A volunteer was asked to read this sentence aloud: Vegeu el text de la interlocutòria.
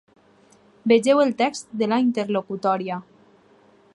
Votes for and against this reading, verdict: 6, 0, accepted